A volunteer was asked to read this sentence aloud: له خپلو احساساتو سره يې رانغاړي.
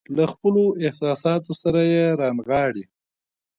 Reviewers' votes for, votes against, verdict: 2, 0, accepted